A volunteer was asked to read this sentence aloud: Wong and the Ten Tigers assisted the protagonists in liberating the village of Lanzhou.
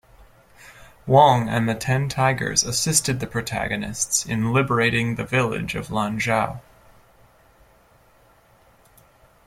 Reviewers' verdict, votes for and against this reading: accepted, 2, 0